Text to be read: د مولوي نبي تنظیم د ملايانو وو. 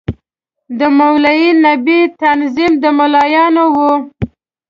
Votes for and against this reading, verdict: 2, 0, accepted